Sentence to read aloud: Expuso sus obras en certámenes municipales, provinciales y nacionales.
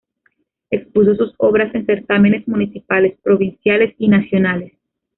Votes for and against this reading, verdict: 0, 2, rejected